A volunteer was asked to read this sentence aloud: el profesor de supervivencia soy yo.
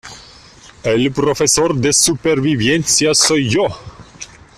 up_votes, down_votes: 0, 2